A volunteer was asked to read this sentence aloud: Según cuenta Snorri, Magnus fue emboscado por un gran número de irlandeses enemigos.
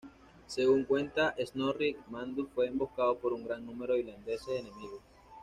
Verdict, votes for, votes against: accepted, 2, 0